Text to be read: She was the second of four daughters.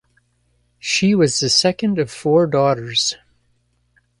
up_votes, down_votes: 2, 0